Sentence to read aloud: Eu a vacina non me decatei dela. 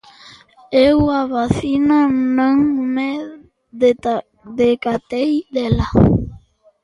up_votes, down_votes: 0, 2